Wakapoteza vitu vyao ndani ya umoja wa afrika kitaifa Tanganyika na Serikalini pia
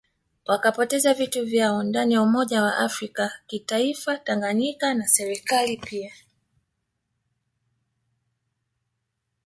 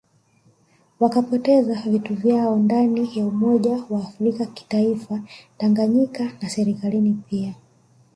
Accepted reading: first